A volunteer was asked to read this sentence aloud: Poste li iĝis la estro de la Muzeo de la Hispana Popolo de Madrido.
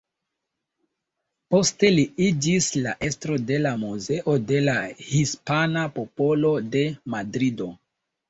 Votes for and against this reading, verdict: 2, 1, accepted